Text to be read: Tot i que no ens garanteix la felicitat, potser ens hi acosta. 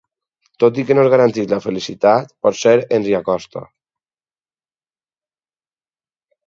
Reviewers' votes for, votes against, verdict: 4, 0, accepted